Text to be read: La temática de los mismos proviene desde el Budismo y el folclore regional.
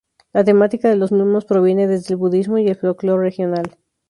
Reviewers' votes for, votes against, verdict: 0, 2, rejected